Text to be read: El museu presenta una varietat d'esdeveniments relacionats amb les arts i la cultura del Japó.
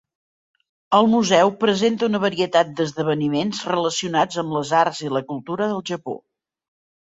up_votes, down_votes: 3, 0